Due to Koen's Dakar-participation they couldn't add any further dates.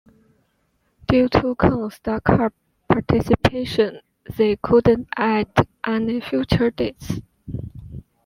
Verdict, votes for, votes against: accepted, 2, 1